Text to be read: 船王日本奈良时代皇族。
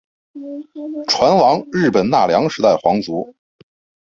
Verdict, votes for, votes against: accepted, 3, 2